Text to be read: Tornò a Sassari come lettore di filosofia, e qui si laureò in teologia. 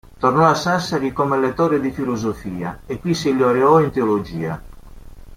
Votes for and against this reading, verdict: 0, 2, rejected